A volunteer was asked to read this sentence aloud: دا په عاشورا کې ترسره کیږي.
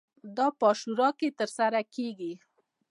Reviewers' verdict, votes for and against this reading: accepted, 2, 0